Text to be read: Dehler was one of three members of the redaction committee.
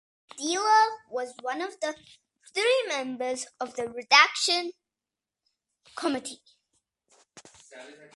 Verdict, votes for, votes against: accepted, 2, 0